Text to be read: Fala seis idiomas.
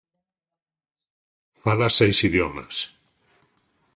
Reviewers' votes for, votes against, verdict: 2, 0, accepted